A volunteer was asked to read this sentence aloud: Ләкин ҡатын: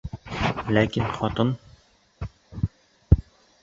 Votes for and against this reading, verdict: 0, 2, rejected